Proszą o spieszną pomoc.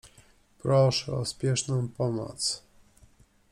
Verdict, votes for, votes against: rejected, 1, 2